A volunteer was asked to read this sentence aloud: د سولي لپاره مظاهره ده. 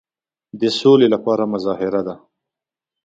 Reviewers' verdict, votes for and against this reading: accepted, 2, 0